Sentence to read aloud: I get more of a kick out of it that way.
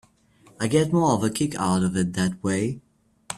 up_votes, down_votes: 3, 0